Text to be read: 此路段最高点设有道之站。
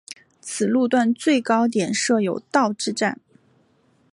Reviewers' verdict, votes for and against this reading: accepted, 2, 1